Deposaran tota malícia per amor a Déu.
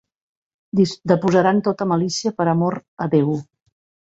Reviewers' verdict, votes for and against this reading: rejected, 0, 2